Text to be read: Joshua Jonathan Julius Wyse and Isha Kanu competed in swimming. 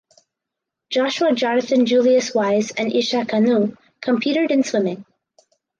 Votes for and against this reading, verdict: 4, 0, accepted